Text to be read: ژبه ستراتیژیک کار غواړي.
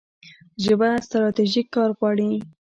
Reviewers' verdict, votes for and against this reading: accepted, 2, 0